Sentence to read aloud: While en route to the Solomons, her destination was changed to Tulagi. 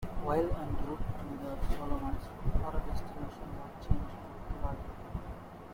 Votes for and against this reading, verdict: 0, 2, rejected